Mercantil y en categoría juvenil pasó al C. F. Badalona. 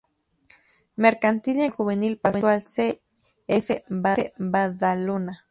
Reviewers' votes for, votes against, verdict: 0, 2, rejected